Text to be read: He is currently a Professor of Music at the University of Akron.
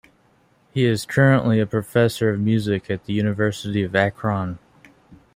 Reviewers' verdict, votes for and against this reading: accepted, 2, 1